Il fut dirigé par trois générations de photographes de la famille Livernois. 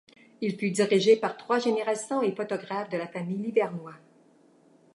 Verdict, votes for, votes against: rejected, 1, 2